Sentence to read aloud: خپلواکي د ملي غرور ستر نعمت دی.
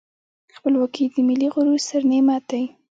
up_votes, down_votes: 2, 0